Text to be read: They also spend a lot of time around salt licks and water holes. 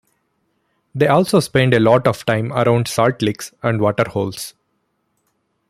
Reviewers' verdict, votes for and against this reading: accepted, 2, 0